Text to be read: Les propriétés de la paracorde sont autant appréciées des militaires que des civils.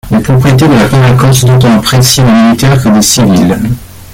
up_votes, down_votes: 0, 2